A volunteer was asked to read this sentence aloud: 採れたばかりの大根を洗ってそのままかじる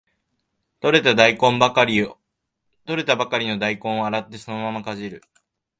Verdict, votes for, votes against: rejected, 0, 2